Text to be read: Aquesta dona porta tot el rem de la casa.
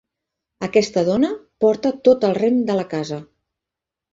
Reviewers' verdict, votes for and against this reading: accepted, 4, 0